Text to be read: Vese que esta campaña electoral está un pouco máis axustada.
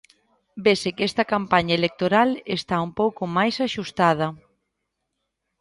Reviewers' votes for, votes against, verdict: 2, 0, accepted